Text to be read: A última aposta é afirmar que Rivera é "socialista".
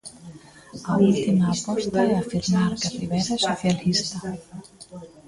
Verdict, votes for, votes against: rejected, 0, 2